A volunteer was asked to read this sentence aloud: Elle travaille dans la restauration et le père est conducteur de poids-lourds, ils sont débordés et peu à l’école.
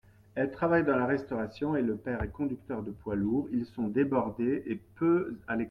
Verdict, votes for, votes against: rejected, 0, 2